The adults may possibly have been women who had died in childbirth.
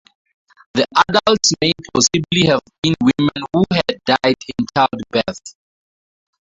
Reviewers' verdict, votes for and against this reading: rejected, 0, 2